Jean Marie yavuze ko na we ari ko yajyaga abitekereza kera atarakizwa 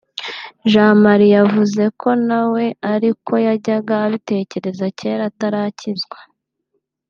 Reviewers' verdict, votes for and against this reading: accepted, 2, 0